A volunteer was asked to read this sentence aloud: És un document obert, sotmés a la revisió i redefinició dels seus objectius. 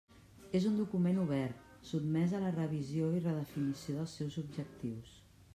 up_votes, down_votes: 3, 0